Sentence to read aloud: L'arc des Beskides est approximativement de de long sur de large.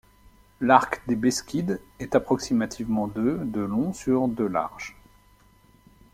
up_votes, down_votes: 2, 0